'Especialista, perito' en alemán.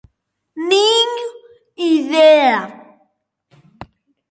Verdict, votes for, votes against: rejected, 0, 2